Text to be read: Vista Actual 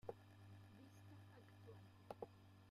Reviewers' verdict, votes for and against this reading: rejected, 0, 2